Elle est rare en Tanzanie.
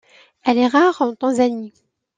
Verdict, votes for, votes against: accepted, 2, 0